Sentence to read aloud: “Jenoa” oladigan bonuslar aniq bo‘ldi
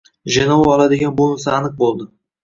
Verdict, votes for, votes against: accepted, 2, 0